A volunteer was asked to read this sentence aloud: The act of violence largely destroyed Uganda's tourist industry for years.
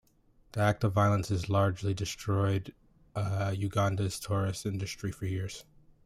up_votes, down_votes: 2, 0